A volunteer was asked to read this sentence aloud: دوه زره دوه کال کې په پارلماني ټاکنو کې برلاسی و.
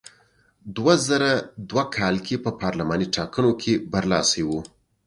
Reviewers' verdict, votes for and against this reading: accepted, 3, 0